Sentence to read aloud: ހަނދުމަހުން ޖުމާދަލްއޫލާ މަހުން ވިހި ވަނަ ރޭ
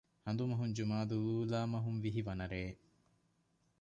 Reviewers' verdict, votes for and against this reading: rejected, 1, 2